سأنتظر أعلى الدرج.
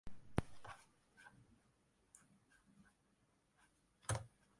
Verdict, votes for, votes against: rejected, 0, 2